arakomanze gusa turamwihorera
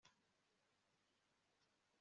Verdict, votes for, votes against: rejected, 1, 3